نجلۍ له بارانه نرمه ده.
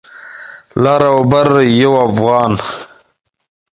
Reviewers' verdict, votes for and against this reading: rejected, 1, 2